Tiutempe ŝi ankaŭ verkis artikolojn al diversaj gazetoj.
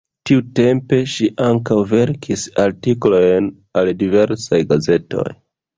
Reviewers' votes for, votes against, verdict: 1, 2, rejected